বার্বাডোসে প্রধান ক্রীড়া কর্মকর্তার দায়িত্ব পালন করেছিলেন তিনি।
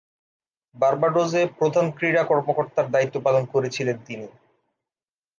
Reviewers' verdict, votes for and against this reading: rejected, 1, 2